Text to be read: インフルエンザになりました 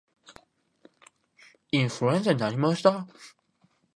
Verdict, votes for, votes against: rejected, 1, 2